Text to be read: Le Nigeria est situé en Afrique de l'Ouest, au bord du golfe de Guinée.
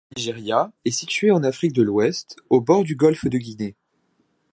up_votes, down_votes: 1, 2